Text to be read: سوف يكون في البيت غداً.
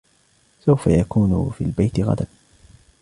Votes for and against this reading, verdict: 2, 0, accepted